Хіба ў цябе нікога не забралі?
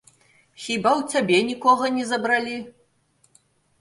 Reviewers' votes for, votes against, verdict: 1, 2, rejected